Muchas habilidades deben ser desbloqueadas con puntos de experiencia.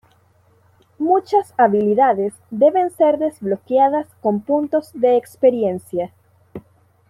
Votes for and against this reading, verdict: 2, 0, accepted